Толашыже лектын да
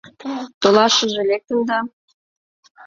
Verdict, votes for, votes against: rejected, 1, 2